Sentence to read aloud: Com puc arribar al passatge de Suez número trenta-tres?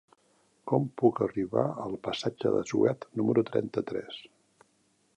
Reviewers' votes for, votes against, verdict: 1, 2, rejected